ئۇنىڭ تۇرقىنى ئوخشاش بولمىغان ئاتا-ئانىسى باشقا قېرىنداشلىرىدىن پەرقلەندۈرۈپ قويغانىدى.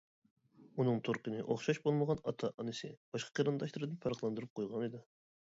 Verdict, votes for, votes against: accepted, 2, 0